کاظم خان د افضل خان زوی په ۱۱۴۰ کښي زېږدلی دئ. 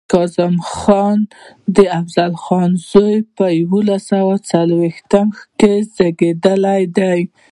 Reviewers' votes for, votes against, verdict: 0, 2, rejected